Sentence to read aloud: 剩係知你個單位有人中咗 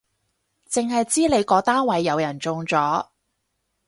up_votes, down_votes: 4, 0